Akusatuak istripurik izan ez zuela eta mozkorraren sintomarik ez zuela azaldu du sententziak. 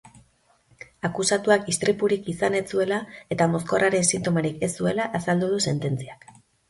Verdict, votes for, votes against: accepted, 2, 0